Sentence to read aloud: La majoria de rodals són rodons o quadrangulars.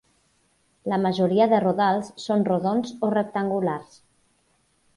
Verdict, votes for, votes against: rejected, 2, 4